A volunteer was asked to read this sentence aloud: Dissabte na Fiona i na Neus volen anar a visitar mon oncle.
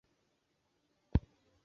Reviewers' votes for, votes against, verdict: 1, 2, rejected